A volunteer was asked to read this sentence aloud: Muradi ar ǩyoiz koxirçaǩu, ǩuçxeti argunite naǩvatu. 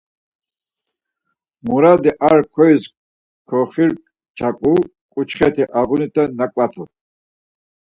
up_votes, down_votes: 4, 0